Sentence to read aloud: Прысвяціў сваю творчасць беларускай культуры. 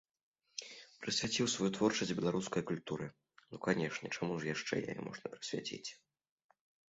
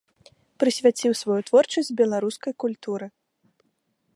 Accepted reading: second